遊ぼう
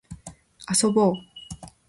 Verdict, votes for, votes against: accepted, 2, 0